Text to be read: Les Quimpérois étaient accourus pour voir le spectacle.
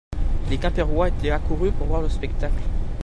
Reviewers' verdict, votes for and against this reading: accepted, 2, 0